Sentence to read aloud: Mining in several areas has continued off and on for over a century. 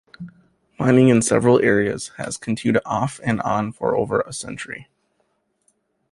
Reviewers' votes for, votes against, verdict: 2, 1, accepted